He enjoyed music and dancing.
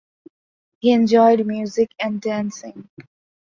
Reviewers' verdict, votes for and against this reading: accepted, 2, 0